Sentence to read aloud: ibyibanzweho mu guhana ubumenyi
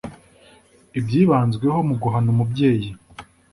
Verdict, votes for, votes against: rejected, 0, 2